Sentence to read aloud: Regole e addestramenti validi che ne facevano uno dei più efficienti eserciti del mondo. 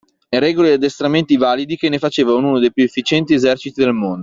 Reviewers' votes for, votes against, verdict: 1, 2, rejected